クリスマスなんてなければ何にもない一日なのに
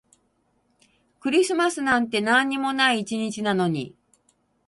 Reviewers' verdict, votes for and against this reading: rejected, 0, 4